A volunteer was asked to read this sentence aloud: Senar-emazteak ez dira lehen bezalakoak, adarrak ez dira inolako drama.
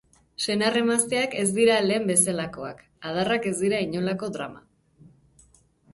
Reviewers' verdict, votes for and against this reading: rejected, 0, 4